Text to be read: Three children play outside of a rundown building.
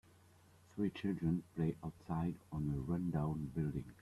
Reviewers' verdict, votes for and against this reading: rejected, 0, 2